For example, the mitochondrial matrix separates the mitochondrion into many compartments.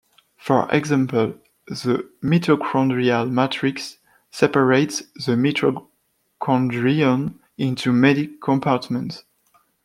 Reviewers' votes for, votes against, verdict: 1, 2, rejected